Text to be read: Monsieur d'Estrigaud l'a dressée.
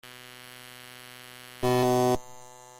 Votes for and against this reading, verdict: 0, 2, rejected